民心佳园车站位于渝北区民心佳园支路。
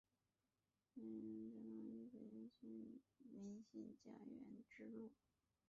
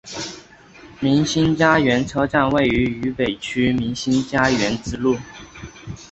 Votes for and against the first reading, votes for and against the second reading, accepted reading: 0, 4, 2, 0, second